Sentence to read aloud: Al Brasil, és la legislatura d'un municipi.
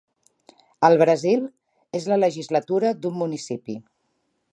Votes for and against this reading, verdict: 2, 0, accepted